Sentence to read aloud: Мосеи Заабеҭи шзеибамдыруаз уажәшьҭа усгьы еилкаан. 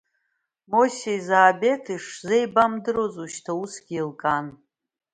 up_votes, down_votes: 2, 0